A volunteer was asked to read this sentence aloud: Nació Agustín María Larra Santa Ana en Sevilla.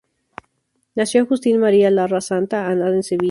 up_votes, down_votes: 0, 2